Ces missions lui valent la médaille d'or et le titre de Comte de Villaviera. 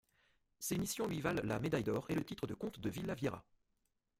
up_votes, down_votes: 2, 1